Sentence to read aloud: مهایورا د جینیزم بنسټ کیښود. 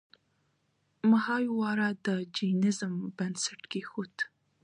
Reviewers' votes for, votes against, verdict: 2, 0, accepted